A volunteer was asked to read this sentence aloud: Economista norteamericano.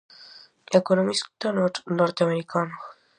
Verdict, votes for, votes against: rejected, 0, 2